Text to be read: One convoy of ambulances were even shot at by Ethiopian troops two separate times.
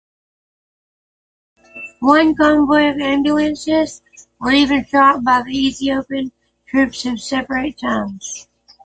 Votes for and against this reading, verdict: 0, 6, rejected